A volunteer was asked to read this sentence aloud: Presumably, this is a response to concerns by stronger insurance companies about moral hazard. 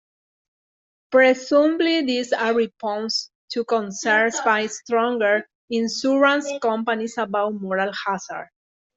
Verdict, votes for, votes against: rejected, 0, 2